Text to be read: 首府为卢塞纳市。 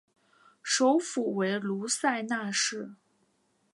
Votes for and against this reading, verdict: 2, 0, accepted